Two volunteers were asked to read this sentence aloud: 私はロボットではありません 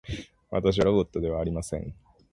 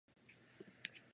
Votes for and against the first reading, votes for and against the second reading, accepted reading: 5, 0, 0, 2, first